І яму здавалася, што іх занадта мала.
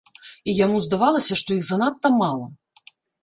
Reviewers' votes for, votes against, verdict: 2, 0, accepted